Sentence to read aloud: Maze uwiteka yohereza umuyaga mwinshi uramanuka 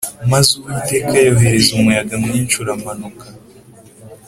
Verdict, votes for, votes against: accepted, 3, 0